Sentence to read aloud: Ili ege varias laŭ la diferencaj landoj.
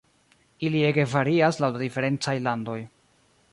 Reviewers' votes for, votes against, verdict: 1, 2, rejected